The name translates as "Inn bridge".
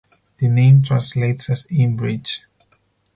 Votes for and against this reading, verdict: 6, 0, accepted